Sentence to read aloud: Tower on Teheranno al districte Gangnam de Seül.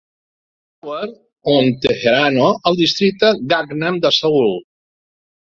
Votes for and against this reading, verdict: 0, 2, rejected